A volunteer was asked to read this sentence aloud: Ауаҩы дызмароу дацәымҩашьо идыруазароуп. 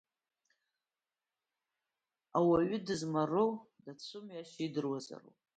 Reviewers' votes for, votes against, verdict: 1, 2, rejected